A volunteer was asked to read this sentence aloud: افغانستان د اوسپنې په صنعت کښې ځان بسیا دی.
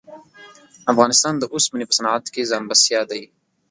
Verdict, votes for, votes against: accepted, 2, 0